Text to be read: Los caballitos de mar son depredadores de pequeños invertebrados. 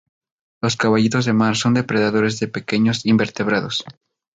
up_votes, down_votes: 2, 0